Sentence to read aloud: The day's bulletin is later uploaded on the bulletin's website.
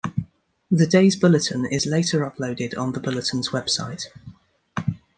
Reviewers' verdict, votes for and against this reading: accepted, 2, 0